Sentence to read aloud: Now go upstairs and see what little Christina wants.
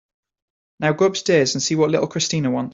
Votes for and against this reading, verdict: 1, 2, rejected